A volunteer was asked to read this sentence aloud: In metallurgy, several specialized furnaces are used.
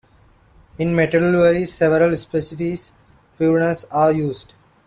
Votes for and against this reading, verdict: 0, 2, rejected